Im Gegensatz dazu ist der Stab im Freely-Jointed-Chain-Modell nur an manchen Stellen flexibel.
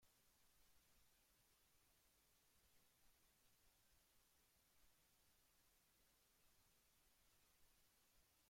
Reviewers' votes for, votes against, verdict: 0, 2, rejected